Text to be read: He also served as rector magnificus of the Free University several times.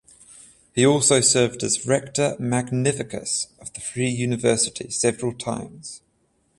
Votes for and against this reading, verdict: 14, 0, accepted